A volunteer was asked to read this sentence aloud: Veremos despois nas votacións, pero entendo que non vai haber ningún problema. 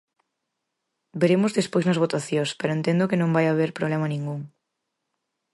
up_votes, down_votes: 0, 4